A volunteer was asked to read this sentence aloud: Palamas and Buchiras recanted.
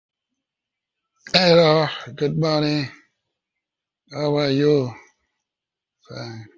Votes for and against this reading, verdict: 0, 2, rejected